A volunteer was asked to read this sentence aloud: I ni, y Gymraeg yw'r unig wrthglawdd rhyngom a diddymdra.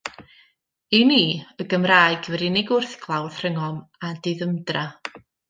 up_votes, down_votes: 2, 0